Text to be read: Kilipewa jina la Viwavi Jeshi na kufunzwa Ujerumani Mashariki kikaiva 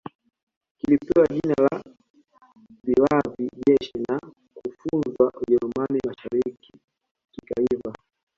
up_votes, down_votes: 2, 1